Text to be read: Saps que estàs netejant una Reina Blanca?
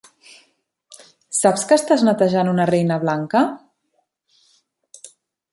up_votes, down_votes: 3, 0